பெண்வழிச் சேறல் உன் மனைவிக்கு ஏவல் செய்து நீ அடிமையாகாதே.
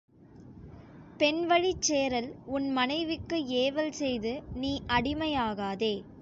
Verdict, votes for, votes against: accepted, 4, 0